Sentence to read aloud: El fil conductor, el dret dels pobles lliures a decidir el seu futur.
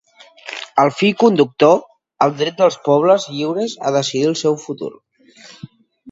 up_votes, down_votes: 2, 1